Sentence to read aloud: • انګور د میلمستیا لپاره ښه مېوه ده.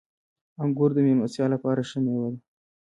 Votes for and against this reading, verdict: 2, 0, accepted